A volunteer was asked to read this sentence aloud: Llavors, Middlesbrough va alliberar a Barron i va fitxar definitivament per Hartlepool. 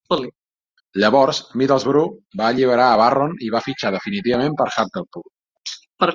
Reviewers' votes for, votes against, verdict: 0, 2, rejected